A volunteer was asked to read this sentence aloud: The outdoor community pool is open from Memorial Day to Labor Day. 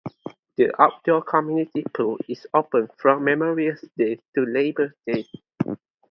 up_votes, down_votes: 0, 2